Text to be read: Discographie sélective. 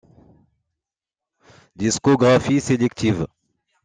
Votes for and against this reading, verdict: 1, 2, rejected